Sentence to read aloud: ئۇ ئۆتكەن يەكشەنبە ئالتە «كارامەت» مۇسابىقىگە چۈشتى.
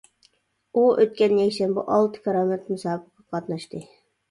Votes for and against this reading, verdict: 0, 2, rejected